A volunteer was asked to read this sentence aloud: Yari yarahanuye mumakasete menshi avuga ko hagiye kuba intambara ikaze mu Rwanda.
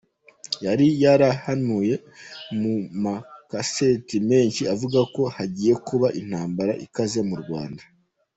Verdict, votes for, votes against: rejected, 1, 2